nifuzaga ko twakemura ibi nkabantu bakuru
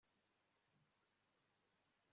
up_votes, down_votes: 1, 2